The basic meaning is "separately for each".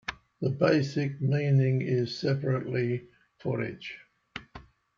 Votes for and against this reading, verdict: 2, 1, accepted